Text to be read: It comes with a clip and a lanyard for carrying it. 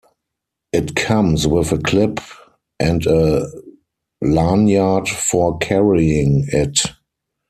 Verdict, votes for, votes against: accepted, 4, 2